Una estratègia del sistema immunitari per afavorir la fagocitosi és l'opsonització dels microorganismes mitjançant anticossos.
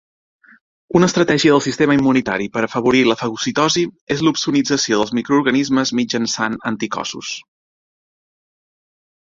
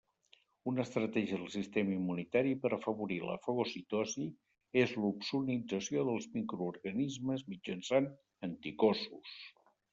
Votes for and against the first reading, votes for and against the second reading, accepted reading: 2, 0, 0, 2, first